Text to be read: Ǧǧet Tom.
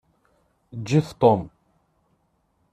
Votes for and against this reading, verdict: 2, 0, accepted